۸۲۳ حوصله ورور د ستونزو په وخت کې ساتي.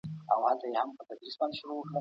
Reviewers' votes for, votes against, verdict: 0, 2, rejected